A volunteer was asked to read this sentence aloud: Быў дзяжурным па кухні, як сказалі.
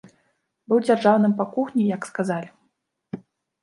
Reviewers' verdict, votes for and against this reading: rejected, 0, 2